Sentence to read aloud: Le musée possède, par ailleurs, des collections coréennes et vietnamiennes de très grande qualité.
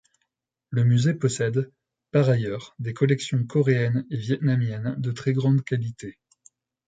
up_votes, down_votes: 2, 0